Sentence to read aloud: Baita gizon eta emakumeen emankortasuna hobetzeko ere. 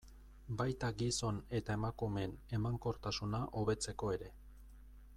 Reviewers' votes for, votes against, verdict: 2, 0, accepted